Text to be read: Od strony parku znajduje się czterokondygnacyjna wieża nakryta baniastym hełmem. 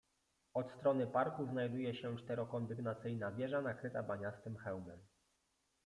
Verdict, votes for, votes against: rejected, 0, 2